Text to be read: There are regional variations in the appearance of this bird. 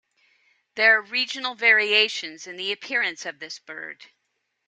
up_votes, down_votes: 2, 0